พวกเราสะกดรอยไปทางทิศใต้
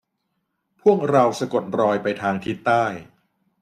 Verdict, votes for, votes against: accepted, 2, 0